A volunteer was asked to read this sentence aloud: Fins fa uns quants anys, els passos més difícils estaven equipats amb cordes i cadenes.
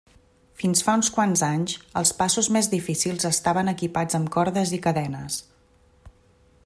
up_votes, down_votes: 2, 0